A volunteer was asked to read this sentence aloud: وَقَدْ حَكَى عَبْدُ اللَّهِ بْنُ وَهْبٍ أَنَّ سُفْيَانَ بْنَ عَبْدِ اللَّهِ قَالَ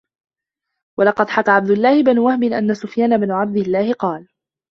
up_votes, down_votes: 0, 2